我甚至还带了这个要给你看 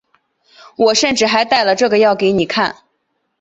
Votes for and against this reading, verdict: 1, 2, rejected